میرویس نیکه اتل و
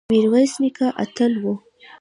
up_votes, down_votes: 2, 0